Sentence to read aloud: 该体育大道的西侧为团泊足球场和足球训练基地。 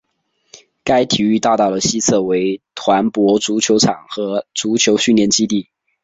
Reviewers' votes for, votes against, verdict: 6, 0, accepted